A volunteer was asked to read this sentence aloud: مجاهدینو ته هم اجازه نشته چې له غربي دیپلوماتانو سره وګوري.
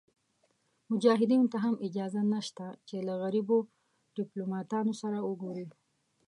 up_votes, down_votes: 0, 2